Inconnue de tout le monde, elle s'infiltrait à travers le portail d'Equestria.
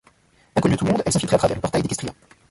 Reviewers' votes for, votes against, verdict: 0, 2, rejected